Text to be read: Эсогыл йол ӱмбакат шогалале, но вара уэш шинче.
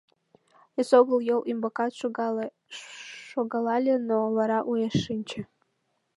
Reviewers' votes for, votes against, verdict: 0, 2, rejected